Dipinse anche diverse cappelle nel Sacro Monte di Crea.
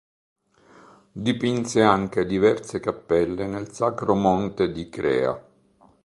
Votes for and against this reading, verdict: 2, 0, accepted